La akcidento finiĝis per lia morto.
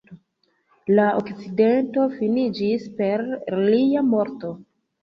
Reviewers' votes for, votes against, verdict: 1, 2, rejected